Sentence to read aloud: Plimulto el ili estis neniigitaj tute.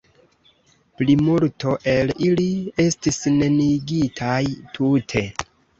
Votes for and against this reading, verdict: 2, 1, accepted